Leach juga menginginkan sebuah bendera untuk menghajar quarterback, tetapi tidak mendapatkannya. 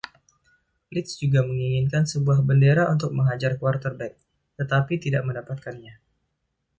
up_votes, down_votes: 2, 1